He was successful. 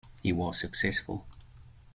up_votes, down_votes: 2, 0